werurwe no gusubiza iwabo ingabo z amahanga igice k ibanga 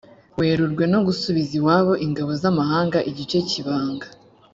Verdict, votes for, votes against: accepted, 3, 0